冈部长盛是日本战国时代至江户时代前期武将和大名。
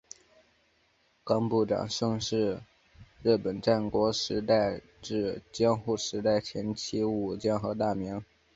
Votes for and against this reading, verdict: 3, 1, accepted